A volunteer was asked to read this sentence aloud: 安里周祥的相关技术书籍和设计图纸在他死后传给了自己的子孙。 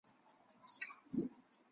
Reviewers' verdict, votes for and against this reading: rejected, 2, 3